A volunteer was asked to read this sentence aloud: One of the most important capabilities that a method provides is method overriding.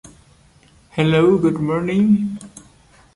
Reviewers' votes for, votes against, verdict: 0, 2, rejected